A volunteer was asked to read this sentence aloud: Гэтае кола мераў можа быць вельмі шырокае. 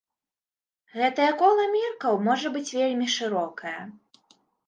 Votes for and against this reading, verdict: 1, 2, rejected